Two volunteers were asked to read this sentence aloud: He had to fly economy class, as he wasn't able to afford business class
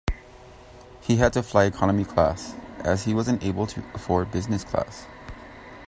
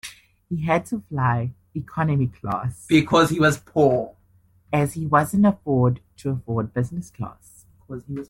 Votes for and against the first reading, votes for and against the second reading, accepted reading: 2, 0, 0, 2, first